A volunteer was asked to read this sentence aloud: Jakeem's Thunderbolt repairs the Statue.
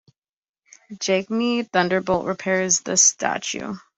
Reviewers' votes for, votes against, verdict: 0, 2, rejected